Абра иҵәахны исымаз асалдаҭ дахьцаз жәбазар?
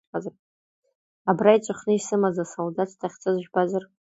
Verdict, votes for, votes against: accepted, 2, 0